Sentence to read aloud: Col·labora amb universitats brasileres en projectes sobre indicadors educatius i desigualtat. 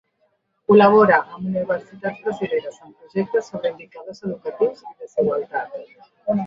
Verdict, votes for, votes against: rejected, 0, 2